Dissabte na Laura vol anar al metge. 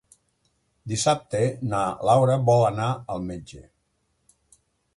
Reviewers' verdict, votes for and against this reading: accepted, 3, 0